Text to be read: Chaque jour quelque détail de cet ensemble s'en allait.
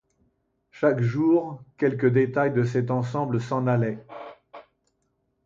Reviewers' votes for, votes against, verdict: 2, 0, accepted